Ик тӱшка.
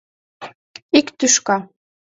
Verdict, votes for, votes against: accepted, 2, 0